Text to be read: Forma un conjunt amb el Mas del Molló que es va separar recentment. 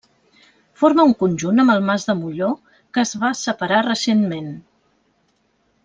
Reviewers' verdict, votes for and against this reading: rejected, 1, 2